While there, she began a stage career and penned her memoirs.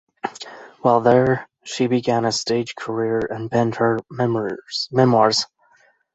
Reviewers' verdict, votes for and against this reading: rejected, 0, 2